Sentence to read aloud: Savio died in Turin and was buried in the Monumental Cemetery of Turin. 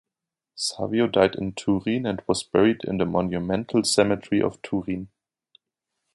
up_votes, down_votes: 2, 0